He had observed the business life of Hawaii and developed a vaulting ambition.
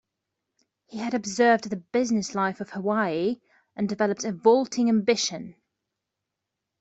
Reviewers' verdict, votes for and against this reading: accepted, 2, 0